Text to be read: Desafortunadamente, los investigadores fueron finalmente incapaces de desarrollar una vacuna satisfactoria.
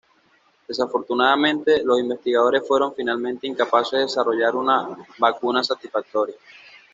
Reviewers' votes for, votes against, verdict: 2, 0, accepted